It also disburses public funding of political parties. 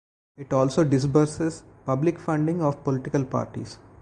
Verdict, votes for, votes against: accepted, 2, 0